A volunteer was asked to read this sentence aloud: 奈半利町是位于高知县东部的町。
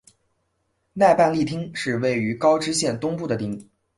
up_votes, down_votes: 8, 0